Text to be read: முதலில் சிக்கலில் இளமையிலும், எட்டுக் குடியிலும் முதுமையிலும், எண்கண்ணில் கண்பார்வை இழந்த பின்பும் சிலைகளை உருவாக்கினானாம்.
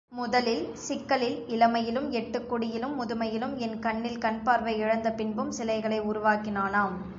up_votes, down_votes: 4, 1